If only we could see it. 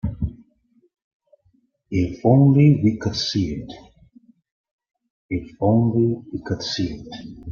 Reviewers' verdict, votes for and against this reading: rejected, 0, 2